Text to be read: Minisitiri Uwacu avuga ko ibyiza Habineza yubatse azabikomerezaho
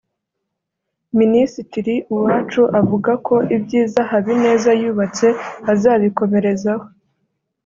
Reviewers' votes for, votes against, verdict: 2, 0, accepted